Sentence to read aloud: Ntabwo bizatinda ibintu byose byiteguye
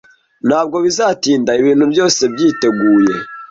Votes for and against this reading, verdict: 2, 0, accepted